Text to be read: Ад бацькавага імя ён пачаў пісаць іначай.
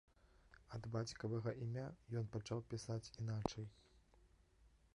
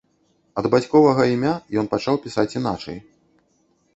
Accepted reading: first